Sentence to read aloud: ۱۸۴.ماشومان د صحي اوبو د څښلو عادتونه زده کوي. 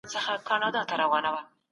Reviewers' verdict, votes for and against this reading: rejected, 0, 2